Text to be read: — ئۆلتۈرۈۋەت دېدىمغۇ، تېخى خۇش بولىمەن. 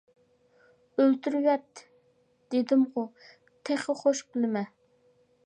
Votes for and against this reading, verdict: 0, 2, rejected